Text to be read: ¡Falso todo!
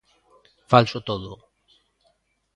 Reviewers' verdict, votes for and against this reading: accepted, 2, 0